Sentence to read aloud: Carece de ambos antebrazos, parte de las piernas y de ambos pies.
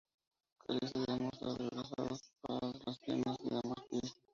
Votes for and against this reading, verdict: 0, 2, rejected